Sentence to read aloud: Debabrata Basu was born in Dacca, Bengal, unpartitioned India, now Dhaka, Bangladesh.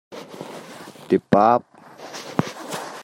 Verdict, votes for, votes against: rejected, 0, 2